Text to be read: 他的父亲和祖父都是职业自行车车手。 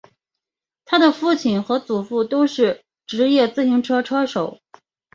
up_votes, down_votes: 2, 3